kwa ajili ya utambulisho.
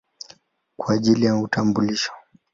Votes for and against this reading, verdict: 2, 0, accepted